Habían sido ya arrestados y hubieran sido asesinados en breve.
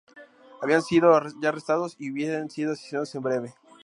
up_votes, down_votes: 0, 2